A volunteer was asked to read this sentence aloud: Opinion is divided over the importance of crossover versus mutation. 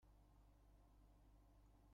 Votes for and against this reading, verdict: 0, 2, rejected